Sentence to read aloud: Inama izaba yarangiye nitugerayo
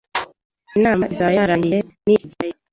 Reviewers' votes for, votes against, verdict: 1, 2, rejected